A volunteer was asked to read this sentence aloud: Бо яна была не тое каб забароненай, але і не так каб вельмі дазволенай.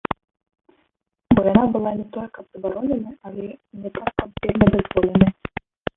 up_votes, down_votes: 1, 2